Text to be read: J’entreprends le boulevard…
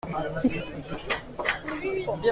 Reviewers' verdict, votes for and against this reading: rejected, 0, 2